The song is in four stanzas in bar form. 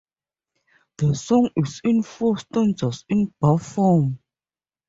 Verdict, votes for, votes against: accepted, 4, 0